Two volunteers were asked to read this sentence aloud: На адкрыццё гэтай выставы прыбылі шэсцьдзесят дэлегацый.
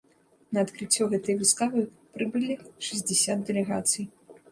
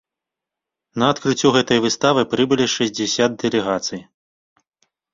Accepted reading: second